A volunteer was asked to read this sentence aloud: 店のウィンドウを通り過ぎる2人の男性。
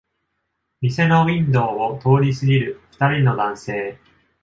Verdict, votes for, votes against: rejected, 0, 2